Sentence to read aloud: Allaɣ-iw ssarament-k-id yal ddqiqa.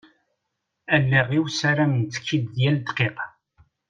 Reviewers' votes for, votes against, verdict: 0, 2, rejected